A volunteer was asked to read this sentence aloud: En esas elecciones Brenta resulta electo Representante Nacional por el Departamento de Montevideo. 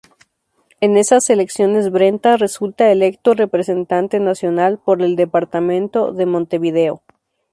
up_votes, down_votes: 2, 0